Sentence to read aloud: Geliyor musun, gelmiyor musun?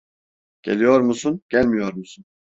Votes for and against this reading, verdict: 2, 0, accepted